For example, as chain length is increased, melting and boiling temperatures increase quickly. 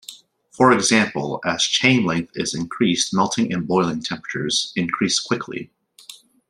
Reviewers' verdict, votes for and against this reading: accepted, 2, 0